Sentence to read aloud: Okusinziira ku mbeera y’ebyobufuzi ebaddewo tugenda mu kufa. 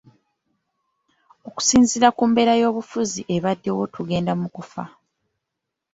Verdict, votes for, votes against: accepted, 2, 0